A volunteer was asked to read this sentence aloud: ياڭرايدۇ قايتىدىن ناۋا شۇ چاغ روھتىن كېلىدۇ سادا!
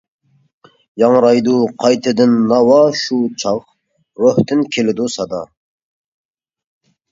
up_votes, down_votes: 2, 0